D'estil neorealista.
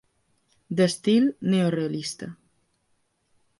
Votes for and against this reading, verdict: 2, 0, accepted